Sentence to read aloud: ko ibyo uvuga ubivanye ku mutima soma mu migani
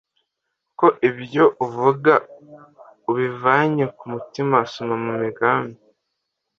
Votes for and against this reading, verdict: 1, 2, rejected